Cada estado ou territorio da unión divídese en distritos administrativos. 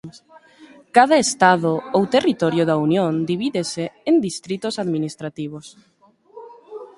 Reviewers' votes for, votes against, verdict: 2, 0, accepted